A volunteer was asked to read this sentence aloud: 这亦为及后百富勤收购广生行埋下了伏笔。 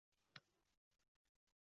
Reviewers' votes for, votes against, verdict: 2, 6, rejected